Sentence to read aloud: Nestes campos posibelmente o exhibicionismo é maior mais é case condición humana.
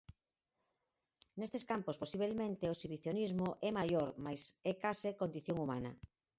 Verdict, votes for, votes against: rejected, 2, 4